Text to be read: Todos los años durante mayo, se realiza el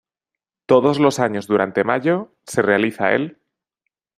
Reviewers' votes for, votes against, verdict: 2, 0, accepted